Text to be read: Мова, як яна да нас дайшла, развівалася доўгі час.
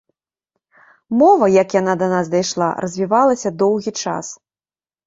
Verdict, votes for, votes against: accepted, 2, 0